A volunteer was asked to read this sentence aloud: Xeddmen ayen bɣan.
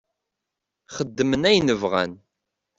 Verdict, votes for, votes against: accepted, 2, 0